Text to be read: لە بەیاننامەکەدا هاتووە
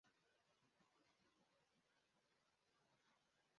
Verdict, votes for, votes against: rejected, 0, 2